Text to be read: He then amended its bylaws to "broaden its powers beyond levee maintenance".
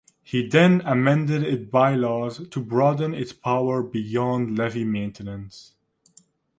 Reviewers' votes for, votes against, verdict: 1, 2, rejected